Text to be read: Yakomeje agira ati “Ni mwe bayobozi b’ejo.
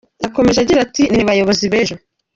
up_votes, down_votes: 2, 0